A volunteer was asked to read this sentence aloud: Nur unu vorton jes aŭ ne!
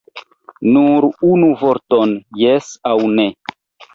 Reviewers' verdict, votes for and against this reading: accepted, 2, 0